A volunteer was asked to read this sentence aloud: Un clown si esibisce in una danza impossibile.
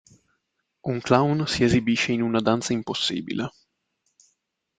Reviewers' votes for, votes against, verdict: 1, 2, rejected